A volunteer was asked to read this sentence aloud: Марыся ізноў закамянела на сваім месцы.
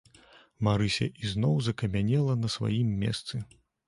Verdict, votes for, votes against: accepted, 2, 0